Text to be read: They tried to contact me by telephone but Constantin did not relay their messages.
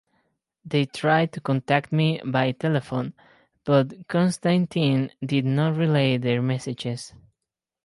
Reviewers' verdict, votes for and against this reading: accepted, 2, 0